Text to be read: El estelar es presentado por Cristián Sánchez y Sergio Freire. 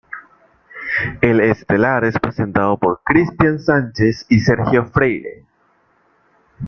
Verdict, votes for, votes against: accepted, 2, 0